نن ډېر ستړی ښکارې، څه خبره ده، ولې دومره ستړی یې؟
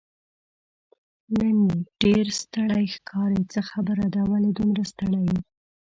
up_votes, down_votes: 2, 0